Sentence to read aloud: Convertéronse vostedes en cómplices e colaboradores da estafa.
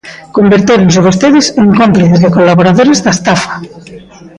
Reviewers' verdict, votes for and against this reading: accepted, 2, 0